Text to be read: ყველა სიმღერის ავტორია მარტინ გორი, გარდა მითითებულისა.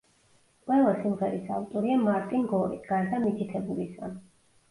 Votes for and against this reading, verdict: 2, 0, accepted